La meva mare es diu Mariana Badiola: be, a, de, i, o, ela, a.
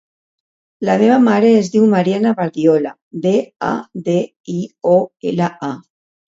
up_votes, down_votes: 2, 0